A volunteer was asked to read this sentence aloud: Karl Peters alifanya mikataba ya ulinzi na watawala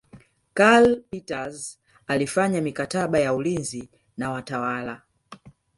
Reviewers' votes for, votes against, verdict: 3, 0, accepted